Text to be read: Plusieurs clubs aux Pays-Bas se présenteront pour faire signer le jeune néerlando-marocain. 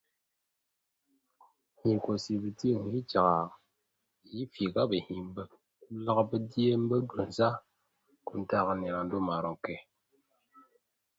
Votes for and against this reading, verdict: 0, 2, rejected